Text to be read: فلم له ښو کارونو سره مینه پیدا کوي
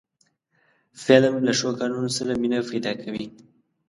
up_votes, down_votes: 2, 0